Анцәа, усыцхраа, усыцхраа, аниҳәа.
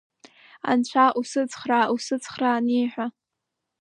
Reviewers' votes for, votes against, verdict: 2, 0, accepted